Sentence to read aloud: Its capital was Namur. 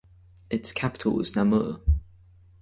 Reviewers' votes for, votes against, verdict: 4, 0, accepted